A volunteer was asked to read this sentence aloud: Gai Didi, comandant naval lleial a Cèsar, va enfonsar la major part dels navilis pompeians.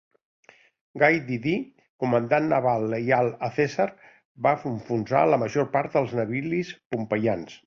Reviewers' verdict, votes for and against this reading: rejected, 1, 2